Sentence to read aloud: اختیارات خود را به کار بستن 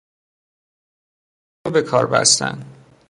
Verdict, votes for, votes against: rejected, 0, 2